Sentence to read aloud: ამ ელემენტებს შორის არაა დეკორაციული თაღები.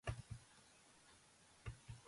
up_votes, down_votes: 0, 3